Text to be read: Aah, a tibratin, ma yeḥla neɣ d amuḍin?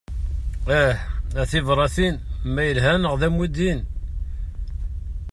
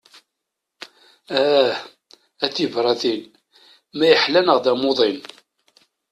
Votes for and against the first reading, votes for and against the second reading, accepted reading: 0, 3, 2, 0, second